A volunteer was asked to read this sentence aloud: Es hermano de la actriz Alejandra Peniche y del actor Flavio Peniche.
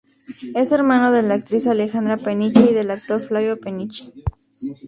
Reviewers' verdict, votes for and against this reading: rejected, 2, 2